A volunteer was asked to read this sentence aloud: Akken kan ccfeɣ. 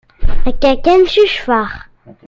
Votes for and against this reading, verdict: 0, 2, rejected